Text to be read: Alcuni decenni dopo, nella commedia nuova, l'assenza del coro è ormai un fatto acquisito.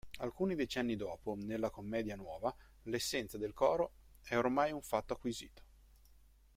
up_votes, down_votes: 0, 2